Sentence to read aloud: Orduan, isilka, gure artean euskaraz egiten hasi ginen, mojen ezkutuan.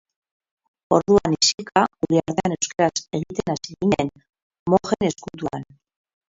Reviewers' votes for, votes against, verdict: 2, 2, rejected